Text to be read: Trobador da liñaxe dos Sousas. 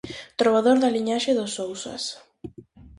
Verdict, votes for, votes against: accepted, 2, 0